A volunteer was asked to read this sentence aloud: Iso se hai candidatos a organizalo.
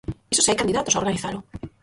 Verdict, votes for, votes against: rejected, 0, 4